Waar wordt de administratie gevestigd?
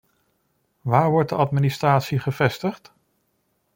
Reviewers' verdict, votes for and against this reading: accepted, 2, 0